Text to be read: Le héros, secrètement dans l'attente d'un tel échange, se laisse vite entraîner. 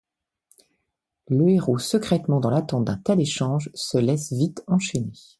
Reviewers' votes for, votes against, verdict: 1, 2, rejected